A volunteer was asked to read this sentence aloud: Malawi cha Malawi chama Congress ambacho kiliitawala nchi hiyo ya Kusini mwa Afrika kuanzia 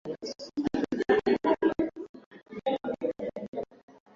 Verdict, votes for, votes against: rejected, 0, 2